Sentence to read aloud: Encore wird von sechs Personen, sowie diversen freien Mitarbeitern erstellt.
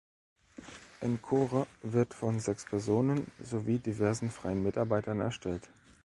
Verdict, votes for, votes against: rejected, 1, 2